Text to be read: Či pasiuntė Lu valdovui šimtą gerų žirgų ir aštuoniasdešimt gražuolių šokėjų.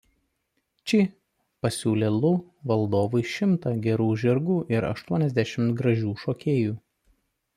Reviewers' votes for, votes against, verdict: 0, 2, rejected